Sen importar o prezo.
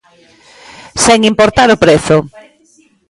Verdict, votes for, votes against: accepted, 2, 1